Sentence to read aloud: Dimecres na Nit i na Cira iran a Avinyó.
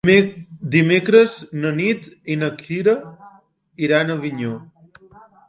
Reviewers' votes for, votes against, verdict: 2, 3, rejected